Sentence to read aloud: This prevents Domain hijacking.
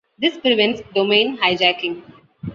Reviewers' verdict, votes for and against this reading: accepted, 2, 0